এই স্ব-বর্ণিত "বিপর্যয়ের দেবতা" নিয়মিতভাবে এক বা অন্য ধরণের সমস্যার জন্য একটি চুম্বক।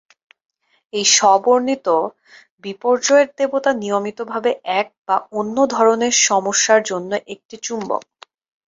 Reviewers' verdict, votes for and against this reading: accepted, 2, 0